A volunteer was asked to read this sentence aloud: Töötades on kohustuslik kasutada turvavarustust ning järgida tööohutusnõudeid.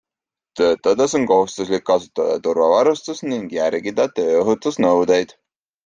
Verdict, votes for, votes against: accepted, 2, 0